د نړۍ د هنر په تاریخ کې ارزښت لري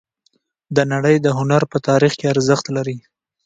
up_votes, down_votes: 3, 0